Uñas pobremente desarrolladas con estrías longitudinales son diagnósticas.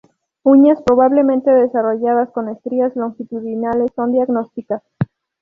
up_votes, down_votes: 0, 2